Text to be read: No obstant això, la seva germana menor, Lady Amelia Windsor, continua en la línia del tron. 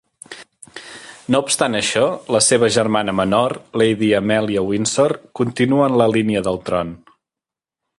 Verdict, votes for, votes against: accepted, 2, 0